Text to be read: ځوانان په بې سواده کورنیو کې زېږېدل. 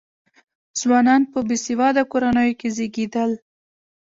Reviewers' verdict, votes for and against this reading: rejected, 1, 2